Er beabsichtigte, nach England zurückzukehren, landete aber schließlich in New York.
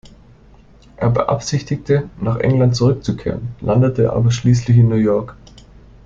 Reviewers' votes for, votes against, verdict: 2, 0, accepted